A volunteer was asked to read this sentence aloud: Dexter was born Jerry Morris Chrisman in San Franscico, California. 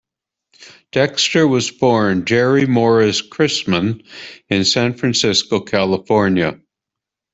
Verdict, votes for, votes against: accepted, 2, 1